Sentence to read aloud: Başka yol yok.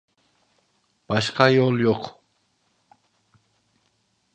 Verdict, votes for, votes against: accepted, 2, 0